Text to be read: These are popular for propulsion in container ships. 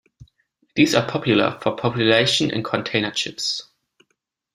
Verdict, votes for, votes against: rejected, 1, 2